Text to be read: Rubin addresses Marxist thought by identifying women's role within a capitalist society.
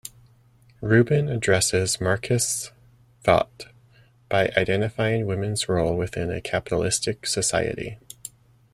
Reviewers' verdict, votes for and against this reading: rejected, 0, 2